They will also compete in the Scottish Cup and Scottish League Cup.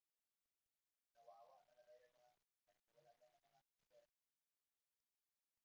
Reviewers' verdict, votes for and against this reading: rejected, 0, 2